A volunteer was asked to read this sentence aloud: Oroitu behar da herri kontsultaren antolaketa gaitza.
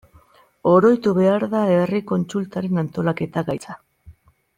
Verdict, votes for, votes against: accepted, 2, 0